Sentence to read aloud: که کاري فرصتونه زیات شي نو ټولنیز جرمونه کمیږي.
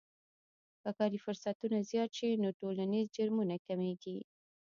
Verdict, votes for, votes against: rejected, 1, 2